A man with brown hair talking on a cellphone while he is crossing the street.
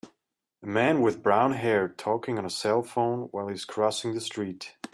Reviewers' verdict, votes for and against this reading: rejected, 1, 2